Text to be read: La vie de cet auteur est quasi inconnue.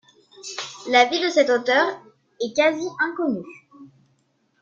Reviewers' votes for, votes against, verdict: 1, 2, rejected